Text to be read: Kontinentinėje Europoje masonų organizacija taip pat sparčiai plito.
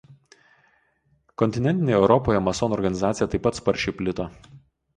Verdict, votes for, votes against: accepted, 2, 0